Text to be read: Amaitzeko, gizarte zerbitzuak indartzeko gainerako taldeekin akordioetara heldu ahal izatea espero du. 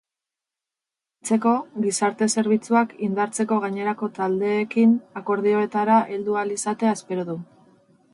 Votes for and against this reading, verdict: 2, 8, rejected